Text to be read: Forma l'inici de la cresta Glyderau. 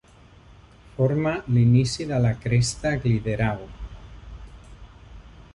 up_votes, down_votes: 0, 2